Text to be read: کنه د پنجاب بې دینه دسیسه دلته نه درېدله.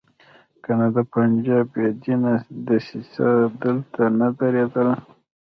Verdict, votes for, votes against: rejected, 1, 2